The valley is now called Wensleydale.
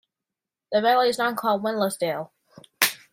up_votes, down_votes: 1, 2